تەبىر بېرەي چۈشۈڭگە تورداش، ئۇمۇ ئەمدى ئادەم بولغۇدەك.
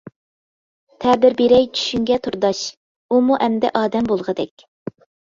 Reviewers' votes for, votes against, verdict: 2, 0, accepted